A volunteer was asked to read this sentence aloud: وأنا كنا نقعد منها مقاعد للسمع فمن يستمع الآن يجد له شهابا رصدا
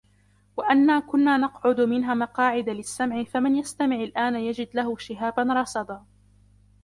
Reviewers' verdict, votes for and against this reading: accepted, 2, 0